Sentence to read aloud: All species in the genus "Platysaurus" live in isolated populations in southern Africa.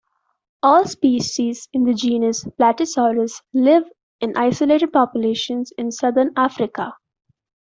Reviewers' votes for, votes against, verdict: 2, 1, accepted